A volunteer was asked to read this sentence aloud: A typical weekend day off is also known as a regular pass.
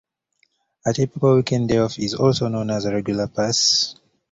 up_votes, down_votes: 2, 1